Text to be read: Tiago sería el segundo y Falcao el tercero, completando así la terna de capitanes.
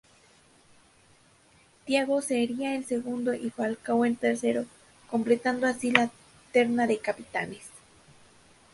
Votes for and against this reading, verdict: 2, 0, accepted